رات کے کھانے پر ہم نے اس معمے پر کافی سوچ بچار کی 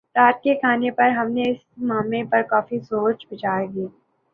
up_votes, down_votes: 2, 0